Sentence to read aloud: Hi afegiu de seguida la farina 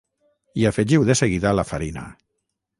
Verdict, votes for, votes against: rejected, 3, 3